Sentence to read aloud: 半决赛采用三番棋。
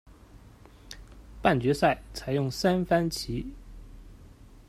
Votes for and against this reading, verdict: 2, 0, accepted